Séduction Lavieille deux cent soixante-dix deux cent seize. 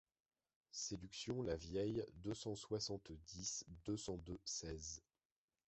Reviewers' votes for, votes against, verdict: 0, 2, rejected